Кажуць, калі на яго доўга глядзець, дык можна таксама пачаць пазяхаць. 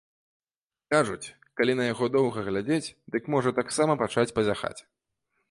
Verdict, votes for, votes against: rejected, 1, 2